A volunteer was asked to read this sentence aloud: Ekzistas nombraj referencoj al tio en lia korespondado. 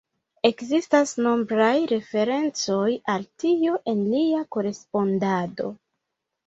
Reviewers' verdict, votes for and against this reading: rejected, 1, 2